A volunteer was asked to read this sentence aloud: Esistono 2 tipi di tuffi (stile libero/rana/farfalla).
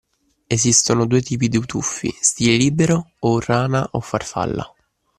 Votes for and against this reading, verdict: 0, 2, rejected